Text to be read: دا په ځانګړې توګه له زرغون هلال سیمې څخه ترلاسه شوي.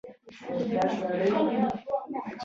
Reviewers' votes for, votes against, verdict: 0, 2, rejected